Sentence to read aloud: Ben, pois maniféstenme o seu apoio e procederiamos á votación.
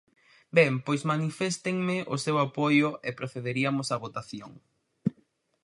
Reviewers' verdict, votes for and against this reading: rejected, 0, 4